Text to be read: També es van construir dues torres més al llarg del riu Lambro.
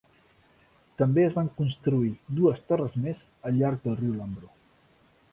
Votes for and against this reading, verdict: 2, 0, accepted